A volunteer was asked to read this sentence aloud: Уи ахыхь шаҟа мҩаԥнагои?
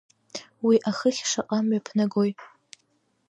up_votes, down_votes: 2, 0